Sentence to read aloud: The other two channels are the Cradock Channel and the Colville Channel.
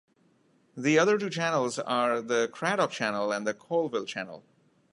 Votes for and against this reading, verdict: 1, 2, rejected